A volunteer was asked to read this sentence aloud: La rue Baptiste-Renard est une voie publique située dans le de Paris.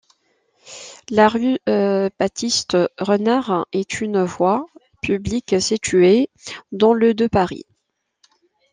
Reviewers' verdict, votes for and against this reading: accepted, 2, 1